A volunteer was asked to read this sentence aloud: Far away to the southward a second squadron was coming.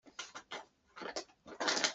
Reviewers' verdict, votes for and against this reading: rejected, 0, 2